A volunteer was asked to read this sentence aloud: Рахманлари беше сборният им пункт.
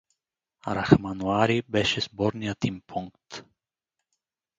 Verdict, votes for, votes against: accepted, 2, 0